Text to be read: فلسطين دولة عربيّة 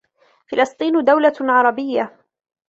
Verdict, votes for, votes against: accepted, 2, 0